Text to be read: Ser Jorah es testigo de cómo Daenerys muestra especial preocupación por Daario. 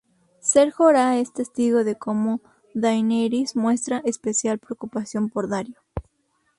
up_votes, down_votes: 2, 0